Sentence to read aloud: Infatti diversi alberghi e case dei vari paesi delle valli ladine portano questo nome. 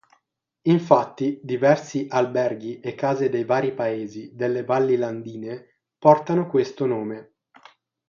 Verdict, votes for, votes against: rejected, 3, 6